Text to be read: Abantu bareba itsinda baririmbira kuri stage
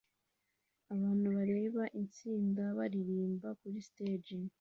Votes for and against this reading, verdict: 2, 0, accepted